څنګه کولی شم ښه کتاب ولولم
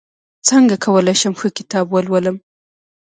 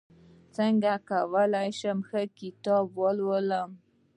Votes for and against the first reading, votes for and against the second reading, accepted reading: 2, 0, 1, 2, first